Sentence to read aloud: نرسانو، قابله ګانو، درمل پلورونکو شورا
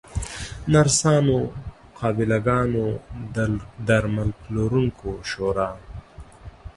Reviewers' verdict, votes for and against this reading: accepted, 2, 0